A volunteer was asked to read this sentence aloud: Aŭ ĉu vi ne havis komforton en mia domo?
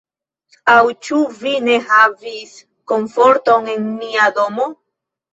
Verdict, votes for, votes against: rejected, 0, 2